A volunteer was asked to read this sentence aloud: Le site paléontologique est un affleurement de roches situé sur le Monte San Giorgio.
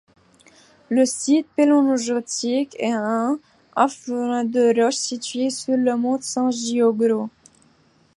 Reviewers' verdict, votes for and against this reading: rejected, 0, 2